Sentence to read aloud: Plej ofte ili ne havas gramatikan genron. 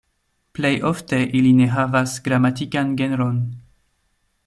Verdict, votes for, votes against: accepted, 2, 0